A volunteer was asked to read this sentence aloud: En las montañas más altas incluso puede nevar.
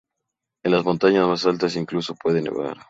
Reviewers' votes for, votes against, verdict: 2, 0, accepted